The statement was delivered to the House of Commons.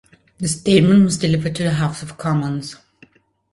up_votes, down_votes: 2, 0